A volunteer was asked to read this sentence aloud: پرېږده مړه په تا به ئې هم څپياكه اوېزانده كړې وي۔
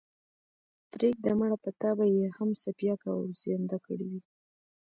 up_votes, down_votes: 2, 1